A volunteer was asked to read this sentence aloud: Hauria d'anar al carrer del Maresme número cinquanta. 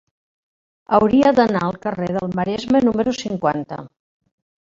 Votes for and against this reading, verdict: 1, 2, rejected